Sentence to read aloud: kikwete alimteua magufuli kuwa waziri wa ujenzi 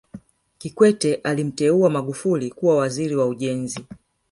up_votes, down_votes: 2, 0